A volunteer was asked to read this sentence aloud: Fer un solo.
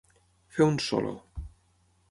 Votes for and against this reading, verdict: 12, 0, accepted